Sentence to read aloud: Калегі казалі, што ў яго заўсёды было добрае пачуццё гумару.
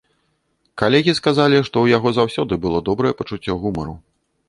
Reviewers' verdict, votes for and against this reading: rejected, 1, 2